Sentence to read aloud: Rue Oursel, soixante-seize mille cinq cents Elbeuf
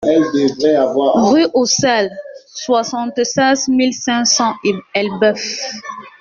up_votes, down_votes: 0, 2